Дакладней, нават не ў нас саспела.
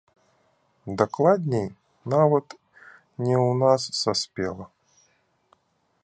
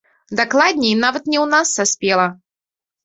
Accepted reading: second